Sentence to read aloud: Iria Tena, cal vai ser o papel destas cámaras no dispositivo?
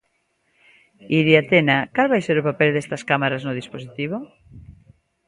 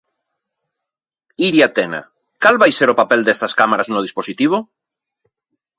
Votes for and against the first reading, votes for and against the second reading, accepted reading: 1, 2, 2, 0, second